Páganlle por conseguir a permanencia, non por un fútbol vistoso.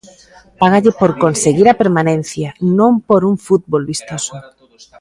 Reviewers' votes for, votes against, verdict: 1, 2, rejected